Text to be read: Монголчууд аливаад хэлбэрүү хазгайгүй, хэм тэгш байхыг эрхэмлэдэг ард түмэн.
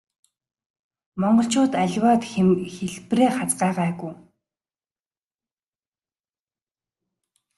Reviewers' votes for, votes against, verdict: 0, 2, rejected